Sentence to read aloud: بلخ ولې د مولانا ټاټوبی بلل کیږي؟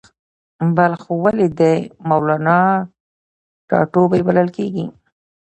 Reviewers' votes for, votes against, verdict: 0, 2, rejected